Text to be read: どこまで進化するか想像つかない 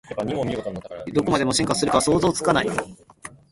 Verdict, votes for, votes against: rejected, 1, 2